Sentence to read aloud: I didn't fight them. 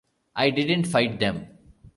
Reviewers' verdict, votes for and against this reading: accepted, 3, 1